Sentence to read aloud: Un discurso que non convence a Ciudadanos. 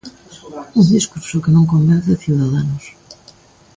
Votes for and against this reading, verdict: 2, 0, accepted